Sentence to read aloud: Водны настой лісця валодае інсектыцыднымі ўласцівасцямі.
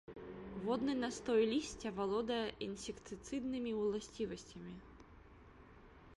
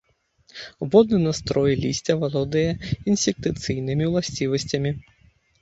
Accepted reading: first